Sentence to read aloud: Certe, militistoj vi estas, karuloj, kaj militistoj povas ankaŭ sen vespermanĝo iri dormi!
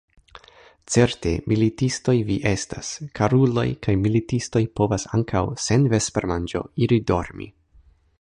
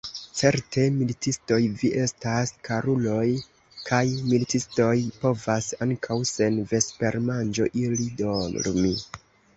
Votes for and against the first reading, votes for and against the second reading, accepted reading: 3, 2, 2, 3, first